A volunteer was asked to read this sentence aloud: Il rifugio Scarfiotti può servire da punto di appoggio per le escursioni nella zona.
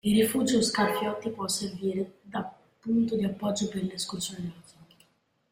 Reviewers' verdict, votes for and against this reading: rejected, 0, 3